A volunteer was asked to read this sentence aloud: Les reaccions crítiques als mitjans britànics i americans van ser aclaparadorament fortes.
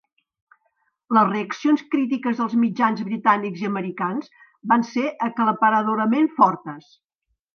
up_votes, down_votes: 2, 0